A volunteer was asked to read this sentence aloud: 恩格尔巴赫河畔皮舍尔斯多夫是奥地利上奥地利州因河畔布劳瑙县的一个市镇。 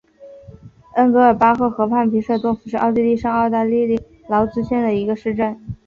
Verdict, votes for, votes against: rejected, 0, 2